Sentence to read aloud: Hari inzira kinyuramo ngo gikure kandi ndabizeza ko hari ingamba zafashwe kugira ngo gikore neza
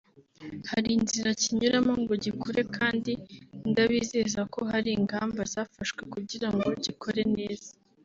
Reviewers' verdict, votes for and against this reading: accepted, 3, 1